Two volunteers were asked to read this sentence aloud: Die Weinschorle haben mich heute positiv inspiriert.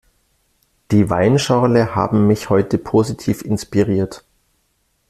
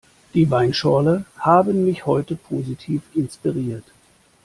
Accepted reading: first